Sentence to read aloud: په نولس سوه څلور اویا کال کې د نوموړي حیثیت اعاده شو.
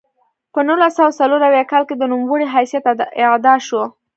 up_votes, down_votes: 2, 0